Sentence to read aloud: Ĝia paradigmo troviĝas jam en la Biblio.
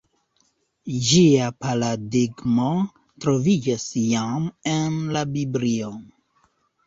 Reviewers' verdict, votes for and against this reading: rejected, 1, 2